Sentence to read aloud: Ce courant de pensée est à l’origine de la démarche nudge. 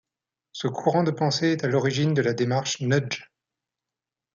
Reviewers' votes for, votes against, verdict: 2, 0, accepted